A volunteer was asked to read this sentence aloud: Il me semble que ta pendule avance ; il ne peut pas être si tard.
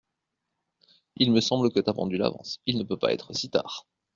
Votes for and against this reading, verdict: 2, 0, accepted